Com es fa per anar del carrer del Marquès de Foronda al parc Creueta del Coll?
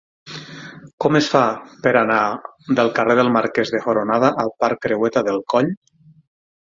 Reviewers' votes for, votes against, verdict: 0, 6, rejected